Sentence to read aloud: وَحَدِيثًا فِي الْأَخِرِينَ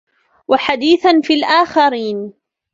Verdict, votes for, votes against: rejected, 1, 2